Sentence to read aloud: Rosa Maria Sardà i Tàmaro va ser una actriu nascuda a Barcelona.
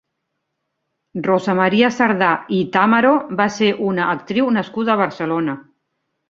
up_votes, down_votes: 2, 0